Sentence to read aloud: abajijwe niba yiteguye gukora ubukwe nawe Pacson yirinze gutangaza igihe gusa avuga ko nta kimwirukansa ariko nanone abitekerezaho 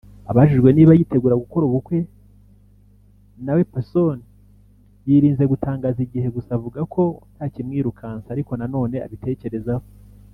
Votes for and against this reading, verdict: 1, 2, rejected